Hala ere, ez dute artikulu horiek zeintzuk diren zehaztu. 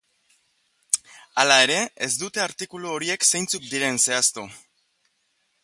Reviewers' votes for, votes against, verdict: 2, 0, accepted